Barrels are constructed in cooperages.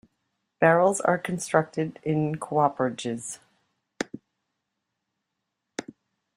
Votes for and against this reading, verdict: 0, 2, rejected